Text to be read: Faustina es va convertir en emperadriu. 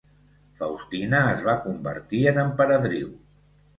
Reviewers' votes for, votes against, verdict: 2, 0, accepted